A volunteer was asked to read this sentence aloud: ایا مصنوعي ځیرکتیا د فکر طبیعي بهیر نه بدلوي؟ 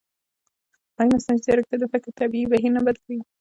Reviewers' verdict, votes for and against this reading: accepted, 2, 0